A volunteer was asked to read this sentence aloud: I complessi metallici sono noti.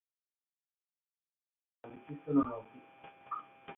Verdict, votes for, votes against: rejected, 0, 6